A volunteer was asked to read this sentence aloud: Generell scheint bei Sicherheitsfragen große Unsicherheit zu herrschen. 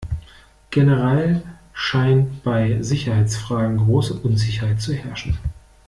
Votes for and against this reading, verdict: 2, 1, accepted